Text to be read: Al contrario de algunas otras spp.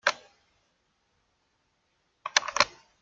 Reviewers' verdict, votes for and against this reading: rejected, 0, 2